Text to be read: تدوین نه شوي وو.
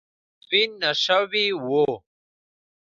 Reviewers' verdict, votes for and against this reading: accepted, 2, 0